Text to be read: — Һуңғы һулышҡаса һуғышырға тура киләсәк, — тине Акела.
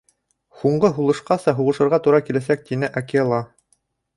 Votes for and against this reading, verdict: 2, 0, accepted